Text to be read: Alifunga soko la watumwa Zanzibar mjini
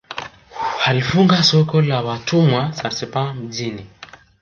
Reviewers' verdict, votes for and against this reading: accepted, 2, 1